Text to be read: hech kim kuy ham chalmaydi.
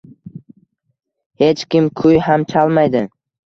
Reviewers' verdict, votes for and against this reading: rejected, 1, 2